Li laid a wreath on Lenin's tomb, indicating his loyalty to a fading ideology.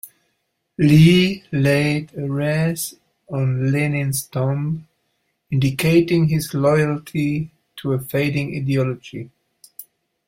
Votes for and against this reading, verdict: 1, 2, rejected